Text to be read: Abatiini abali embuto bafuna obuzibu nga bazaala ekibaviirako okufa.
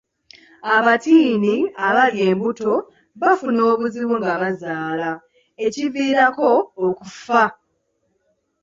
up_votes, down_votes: 2, 0